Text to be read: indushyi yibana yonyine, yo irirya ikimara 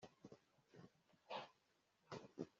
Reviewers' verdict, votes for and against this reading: rejected, 0, 2